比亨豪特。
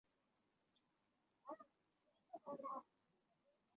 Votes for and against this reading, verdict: 0, 5, rejected